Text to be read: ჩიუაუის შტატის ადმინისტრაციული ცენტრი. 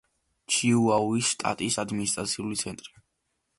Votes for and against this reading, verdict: 1, 2, rejected